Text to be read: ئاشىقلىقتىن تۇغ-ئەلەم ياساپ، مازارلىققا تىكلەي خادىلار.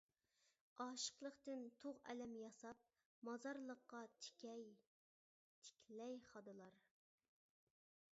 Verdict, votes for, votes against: rejected, 1, 2